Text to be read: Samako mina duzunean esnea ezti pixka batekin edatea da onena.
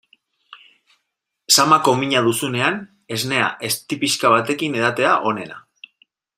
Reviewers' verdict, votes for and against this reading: accepted, 2, 1